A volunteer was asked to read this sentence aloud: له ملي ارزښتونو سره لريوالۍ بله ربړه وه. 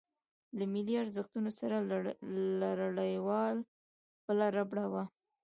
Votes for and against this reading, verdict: 2, 0, accepted